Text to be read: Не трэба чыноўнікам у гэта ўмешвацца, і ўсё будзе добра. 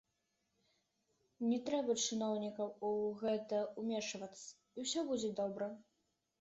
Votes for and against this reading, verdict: 2, 1, accepted